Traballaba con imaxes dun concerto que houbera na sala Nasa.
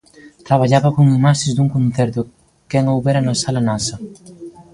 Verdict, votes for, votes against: rejected, 0, 2